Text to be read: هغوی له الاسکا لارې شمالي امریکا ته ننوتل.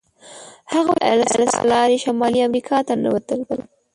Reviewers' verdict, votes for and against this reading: rejected, 1, 2